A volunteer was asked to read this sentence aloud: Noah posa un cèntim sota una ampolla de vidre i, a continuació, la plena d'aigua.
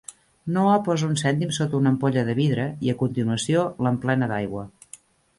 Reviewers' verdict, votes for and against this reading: rejected, 1, 2